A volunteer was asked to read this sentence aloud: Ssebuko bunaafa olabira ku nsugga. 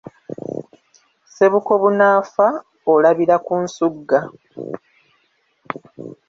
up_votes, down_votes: 1, 2